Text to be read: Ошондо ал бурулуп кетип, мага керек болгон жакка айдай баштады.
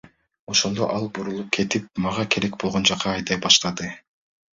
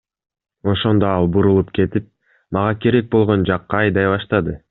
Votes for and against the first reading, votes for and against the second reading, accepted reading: 1, 2, 2, 0, second